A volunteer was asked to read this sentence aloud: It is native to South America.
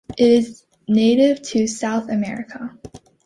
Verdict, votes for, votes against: accepted, 2, 0